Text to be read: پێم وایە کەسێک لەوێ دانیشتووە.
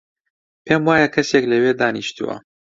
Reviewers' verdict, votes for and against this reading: accepted, 2, 0